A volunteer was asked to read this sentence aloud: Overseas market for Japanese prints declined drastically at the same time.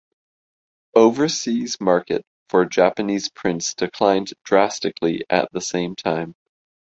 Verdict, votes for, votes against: accepted, 2, 0